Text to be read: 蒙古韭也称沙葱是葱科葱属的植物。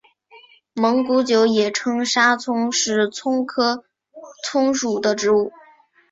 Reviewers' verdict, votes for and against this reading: accepted, 2, 0